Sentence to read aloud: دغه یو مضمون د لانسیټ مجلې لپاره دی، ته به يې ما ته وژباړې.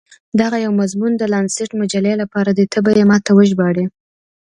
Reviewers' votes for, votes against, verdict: 2, 0, accepted